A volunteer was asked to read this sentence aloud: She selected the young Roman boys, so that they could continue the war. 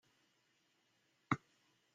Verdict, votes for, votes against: rejected, 0, 2